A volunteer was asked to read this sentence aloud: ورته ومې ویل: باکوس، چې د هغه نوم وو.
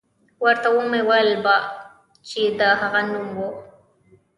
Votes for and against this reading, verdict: 1, 3, rejected